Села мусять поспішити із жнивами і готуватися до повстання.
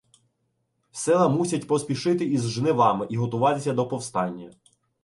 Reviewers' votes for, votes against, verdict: 2, 0, accepted